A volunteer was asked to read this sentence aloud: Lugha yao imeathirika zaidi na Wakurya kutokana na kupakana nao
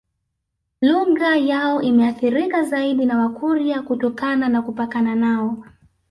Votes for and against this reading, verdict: 0, 2, rejected